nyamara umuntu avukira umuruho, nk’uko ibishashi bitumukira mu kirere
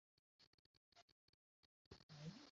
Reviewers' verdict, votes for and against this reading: rejected, 0, 2